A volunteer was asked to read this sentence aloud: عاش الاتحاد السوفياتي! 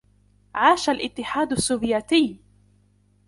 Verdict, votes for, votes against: accepted, 2, 0